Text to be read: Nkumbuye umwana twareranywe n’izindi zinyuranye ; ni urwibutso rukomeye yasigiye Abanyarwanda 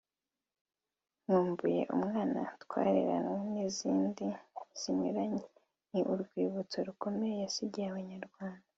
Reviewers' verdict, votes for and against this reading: rejected, 0, 2